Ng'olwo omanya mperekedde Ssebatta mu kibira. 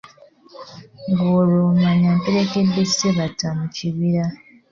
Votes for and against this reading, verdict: 2, 1, accepted